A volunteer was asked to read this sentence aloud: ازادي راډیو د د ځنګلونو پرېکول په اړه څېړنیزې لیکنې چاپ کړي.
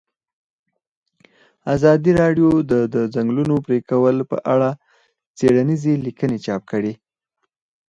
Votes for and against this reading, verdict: 4, 0, accepted